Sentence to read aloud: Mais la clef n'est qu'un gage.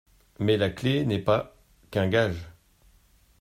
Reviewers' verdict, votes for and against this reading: rejected, 0, 2